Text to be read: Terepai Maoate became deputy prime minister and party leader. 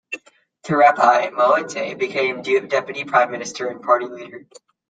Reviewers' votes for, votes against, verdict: 1, 2, rejected